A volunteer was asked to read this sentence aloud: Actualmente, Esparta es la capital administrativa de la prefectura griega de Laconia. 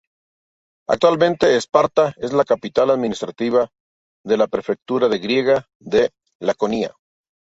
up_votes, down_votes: 0, 2